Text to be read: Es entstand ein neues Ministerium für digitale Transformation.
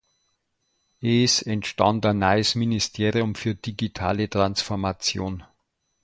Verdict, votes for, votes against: accepted, 2, 1